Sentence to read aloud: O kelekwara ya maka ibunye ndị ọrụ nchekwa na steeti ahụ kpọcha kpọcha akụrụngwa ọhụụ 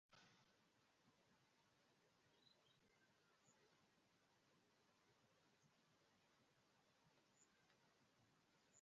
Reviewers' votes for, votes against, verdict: 0, 2, rejected